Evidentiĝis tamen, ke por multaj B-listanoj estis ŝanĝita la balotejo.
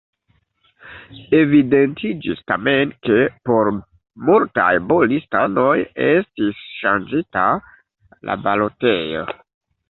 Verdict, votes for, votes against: accepted, 2, 0